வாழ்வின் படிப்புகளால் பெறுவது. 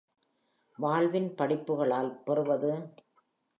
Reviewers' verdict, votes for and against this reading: accepted, 3, 0